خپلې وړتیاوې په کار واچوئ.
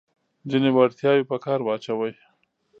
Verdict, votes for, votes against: rejected, 1, 2